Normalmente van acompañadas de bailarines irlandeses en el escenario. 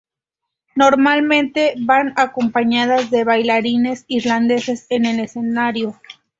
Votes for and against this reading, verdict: 2, 0, accepted